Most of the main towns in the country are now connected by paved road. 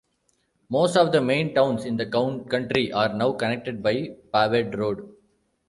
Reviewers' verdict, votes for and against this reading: rejected, 1, 2